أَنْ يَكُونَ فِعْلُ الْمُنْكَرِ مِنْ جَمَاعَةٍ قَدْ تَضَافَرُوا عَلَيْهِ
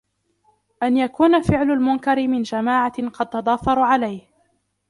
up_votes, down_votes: 1, 2